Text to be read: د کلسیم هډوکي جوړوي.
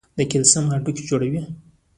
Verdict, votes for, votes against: rejected, 1, 2